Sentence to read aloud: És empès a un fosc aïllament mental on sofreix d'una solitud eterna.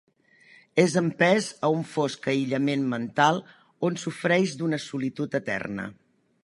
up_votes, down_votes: 2, 0